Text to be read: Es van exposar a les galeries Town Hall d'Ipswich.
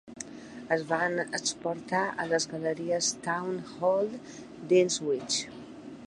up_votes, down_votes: 0, 2